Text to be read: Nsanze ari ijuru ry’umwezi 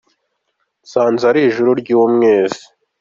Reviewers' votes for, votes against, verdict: 2, 1, accepted